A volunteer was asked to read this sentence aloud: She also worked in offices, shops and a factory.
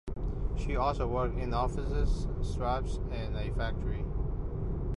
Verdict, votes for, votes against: rejected, 0, 2